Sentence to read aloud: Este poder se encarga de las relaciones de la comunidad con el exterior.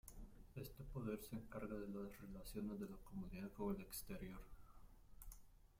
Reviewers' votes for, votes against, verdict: 1, 2, rejected